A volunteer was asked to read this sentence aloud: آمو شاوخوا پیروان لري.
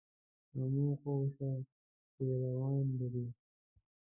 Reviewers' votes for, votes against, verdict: 0, 2, rejected